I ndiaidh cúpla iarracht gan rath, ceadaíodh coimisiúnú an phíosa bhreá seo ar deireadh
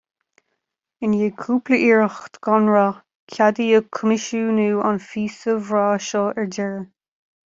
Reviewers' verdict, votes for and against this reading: accepted, 2, 0